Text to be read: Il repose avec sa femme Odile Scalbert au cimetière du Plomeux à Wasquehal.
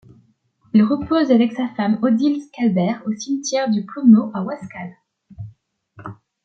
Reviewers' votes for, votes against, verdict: 2, 0, accepted